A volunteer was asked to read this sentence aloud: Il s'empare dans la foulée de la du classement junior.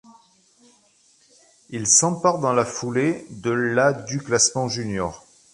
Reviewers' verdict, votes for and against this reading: accepted, 3, 1